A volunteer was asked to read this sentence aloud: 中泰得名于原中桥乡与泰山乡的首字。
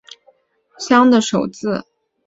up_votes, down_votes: 0, 3